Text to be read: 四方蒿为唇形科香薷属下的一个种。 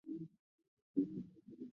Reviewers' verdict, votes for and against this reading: rejected, 0, 3